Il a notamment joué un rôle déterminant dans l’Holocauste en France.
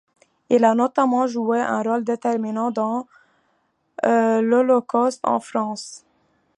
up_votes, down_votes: 0, 2